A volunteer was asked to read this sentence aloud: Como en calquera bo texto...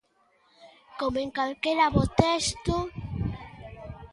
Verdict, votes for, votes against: rejected, 1, 2